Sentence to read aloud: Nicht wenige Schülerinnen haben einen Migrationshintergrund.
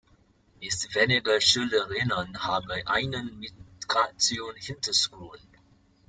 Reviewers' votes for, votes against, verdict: 0, 2, rejected